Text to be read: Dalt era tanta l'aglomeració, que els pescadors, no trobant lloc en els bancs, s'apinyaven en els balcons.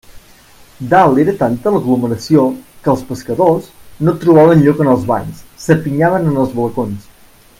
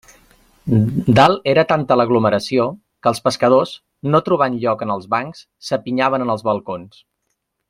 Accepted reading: second